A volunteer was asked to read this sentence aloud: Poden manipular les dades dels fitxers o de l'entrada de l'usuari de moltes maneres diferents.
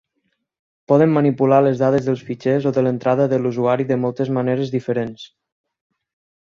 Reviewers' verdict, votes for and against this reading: accepted, 6, 0